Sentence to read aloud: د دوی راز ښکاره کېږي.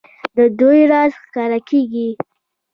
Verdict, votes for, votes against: accepted, 2, 0